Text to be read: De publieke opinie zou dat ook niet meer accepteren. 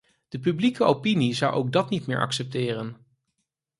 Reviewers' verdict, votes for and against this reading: rejected, 2, 4